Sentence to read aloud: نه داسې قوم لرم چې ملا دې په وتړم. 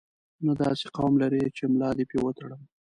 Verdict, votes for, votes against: rejected, 0, 2